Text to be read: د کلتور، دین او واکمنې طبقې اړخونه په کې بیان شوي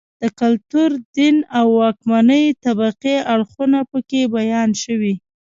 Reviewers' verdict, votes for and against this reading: rejected, 0, 2